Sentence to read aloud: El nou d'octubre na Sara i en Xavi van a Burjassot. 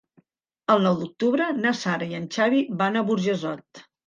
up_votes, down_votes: 2, 1